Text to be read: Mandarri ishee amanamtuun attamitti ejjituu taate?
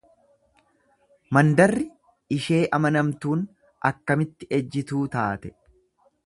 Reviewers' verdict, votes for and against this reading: rejected, 1, 2